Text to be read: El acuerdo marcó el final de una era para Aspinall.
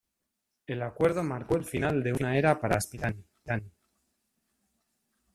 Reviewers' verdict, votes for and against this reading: rejected, 0, 2